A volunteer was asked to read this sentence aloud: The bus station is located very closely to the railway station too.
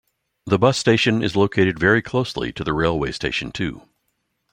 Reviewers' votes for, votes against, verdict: 2, 0, accepted